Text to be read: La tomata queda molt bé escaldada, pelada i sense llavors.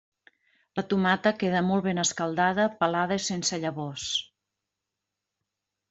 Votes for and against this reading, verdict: 1, 2, rejected